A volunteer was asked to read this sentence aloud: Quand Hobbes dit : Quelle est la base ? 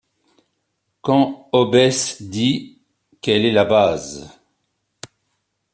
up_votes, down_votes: 2, 1